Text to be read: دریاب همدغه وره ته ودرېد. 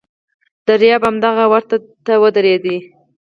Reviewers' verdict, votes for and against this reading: accepted, 4, 0